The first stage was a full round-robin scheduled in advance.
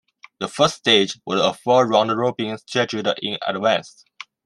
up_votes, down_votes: 0, 2